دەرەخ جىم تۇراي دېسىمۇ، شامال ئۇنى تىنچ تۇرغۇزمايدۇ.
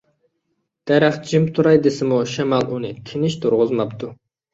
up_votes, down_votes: 1, 2